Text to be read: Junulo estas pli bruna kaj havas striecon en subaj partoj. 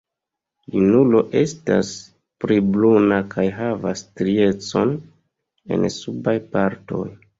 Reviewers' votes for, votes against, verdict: 1, 2, rejected